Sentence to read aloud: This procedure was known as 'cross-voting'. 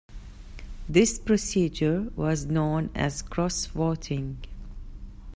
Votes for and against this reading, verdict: 2, 0, accepted